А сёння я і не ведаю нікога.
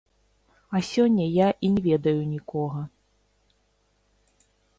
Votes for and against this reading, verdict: 0, 2, rejected